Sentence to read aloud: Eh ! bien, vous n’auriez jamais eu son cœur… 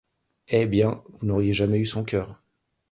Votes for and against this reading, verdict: 2, 0, accepted